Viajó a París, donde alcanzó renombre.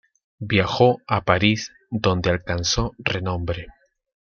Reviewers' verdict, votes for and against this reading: accepted, 2, 0